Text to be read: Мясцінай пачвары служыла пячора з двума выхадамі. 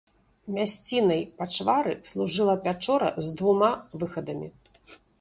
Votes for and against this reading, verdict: 2, 0, accepted